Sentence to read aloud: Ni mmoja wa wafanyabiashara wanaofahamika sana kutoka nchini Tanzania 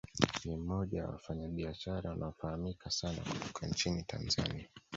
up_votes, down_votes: 1, 2